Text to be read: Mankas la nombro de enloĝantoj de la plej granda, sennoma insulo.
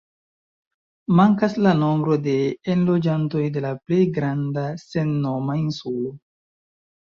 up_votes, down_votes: 3, 2